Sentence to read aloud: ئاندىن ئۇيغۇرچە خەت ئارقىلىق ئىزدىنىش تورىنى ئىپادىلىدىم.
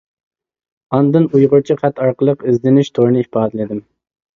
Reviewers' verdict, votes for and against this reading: accepted, 2, 0